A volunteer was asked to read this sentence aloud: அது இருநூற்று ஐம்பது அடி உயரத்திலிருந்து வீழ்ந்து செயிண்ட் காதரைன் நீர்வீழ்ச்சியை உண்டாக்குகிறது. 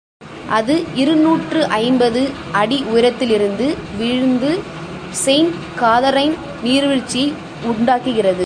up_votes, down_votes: 1, 2